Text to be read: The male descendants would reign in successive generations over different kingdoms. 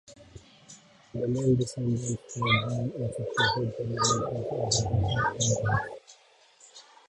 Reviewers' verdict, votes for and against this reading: rejected, 0, 2